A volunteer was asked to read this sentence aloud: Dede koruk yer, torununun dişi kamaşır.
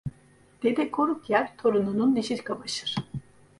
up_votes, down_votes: 0, 2